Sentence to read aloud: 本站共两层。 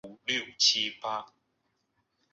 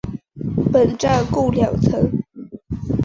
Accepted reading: second